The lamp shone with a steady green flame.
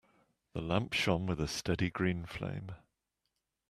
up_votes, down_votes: 2, 0